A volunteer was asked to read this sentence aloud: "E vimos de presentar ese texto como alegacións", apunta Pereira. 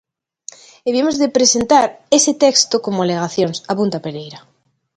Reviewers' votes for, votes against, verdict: 2, 0, accepted